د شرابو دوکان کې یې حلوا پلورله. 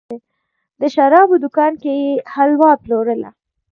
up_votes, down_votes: 0, 2